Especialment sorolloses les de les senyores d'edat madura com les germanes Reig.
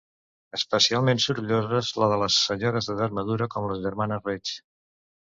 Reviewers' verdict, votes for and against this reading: rejected, 0, 2